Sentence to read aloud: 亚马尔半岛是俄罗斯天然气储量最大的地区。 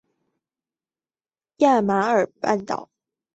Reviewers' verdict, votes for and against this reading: rejected, 1, 2